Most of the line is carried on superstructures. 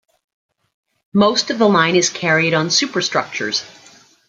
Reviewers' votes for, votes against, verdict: 2, 1, accepted